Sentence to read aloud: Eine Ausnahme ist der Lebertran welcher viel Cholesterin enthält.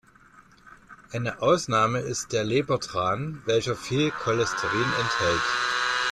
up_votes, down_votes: 2, 0